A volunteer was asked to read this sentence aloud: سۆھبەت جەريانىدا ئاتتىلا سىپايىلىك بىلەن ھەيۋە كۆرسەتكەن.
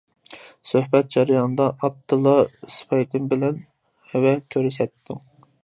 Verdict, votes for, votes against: rejected, 0, 2